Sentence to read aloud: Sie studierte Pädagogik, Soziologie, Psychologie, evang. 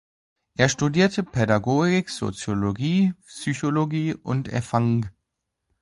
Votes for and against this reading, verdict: 0, 2, rejected